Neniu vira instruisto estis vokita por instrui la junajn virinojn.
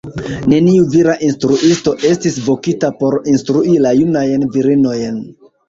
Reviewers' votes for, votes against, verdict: 1, 2, rejected